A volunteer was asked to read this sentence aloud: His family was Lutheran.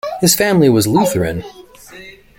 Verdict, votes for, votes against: accepted, 2, 0